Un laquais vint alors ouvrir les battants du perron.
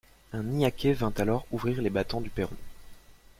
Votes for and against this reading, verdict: 0, 2, rejected